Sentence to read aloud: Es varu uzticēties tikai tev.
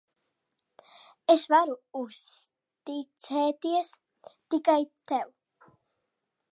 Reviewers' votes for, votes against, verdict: 1, 2, rejected